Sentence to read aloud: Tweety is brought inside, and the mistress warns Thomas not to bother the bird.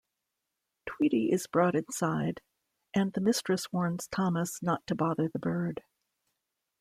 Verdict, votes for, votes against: accepted, 2, 0